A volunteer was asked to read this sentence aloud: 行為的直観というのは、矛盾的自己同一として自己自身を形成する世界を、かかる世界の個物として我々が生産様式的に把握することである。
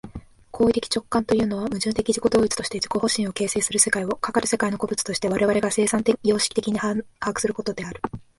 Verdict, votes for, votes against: rejected, 1, 2